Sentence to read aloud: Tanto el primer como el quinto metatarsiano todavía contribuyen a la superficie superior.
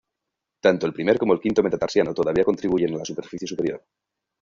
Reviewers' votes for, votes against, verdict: 0, 2, rejected